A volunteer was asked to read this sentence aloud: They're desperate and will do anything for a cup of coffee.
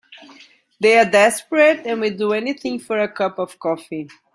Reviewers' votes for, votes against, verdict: 2, 0, accepted